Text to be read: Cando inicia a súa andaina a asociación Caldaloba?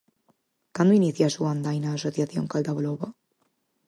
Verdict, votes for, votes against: accepted, 4, 0